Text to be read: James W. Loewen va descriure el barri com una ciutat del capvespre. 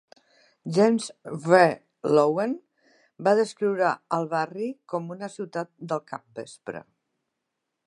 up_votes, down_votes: 1, 2